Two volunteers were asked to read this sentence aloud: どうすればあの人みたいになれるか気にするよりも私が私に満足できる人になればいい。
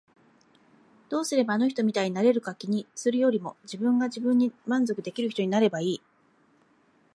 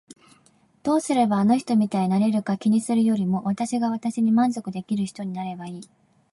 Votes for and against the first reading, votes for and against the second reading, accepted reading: 0, 2, 2, 0, second